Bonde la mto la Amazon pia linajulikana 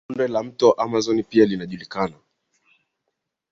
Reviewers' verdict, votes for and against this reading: accepted, 8, 2